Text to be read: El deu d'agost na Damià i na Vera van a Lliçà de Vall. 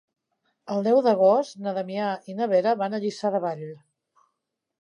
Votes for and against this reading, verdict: 4, 0, accepted